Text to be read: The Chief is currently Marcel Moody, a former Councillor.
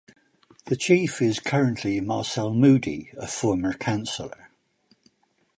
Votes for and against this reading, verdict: 2, 0, accepted